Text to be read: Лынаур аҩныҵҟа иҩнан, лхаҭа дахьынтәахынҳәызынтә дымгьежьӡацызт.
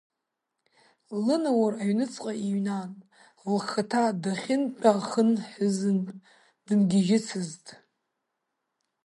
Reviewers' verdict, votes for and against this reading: rejected, 1, 5